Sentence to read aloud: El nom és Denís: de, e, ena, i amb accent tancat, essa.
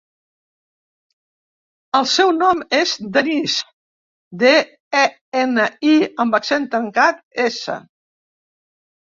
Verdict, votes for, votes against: rejected, 1, 2